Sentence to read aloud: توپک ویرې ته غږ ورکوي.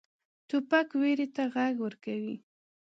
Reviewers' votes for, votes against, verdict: 2, 0, accepted